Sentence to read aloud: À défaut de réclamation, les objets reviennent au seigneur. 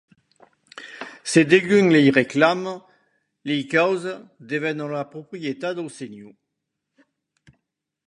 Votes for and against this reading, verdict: 0, 2, rejected